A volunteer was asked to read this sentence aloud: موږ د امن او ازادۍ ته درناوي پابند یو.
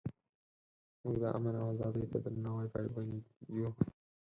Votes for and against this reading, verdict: 2, 4, rejected